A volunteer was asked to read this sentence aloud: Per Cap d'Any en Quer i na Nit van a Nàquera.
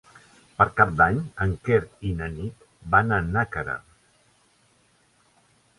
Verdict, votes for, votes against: accepted, 3, 0